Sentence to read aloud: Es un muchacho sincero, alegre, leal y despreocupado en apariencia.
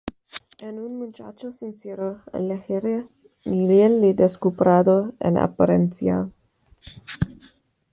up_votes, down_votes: 1, 2